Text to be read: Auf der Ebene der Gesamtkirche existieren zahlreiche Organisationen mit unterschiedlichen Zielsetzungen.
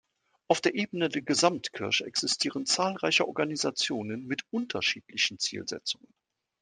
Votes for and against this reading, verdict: 2, 0, accepted